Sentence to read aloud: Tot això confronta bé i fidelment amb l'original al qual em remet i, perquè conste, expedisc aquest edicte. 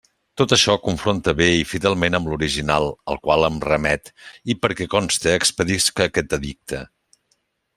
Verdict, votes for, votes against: accepted, 2, 0